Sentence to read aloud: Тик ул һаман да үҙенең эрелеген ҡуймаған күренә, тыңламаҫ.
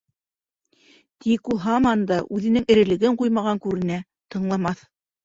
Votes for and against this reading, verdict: 0, 2, rejected